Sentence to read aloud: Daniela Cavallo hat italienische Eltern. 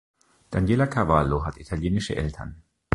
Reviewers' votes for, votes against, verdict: 2, 0, accepted